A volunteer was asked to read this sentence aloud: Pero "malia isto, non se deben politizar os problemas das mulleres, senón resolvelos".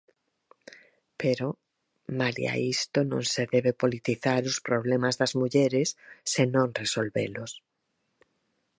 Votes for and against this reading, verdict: 2, 4, rejected